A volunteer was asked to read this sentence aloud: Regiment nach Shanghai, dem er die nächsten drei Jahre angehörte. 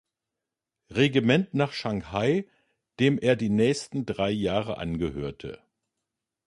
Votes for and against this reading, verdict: 2, 0, accepted